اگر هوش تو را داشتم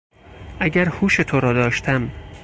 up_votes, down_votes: 6, 0